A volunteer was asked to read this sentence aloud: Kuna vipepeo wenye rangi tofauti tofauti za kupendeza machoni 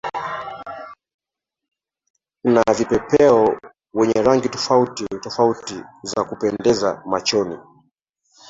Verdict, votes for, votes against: rejected, 0, 2